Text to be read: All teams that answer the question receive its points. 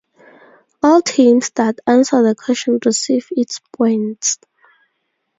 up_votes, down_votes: 4, 0